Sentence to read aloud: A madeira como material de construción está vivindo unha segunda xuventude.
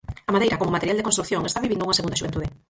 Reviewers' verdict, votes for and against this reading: rejected, 0, 4